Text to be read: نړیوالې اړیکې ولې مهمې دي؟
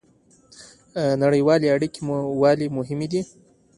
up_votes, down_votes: 2, 0